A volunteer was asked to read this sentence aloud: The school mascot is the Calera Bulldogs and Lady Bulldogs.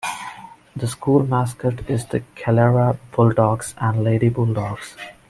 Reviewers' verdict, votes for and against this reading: accepted, 2, 0